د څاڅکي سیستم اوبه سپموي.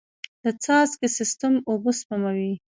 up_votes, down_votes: 1, 2